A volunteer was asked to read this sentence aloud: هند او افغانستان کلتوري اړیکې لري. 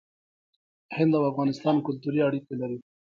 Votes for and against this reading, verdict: 1, 2, rejected